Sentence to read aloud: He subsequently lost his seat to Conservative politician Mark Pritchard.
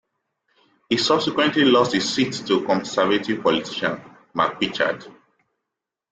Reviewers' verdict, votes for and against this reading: rejected, 0, 2